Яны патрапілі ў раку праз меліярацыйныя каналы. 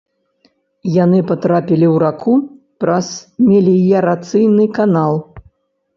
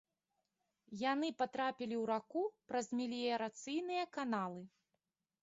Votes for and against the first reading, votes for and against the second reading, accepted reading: 1, 2, 2, 0, second